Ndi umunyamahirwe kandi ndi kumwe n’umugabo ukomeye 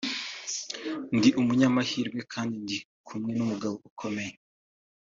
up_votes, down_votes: 2, 0